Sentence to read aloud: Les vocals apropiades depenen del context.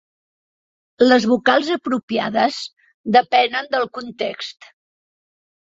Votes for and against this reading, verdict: 3, 0, accepted